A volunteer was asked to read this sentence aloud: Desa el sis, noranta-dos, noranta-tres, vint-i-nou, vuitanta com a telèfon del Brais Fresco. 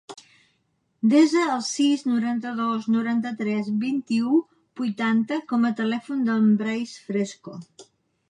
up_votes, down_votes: 0, 2